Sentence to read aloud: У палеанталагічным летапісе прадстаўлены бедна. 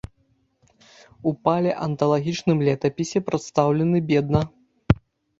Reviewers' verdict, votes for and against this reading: accepted, 2, 0